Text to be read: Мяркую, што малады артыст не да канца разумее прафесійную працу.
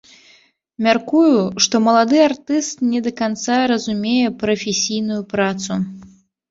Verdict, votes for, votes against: accepted, 2, 0